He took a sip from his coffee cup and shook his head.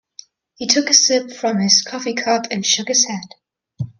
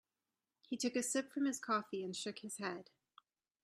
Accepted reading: first